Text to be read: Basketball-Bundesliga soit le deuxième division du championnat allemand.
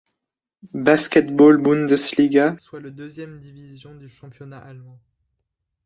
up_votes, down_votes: 0, 2